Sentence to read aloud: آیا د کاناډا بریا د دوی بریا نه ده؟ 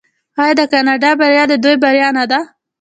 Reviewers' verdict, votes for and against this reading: rejected, 1, 2